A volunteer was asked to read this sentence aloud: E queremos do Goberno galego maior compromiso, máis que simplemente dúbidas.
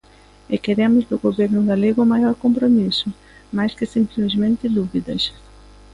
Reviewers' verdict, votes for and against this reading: rejected, 1, 2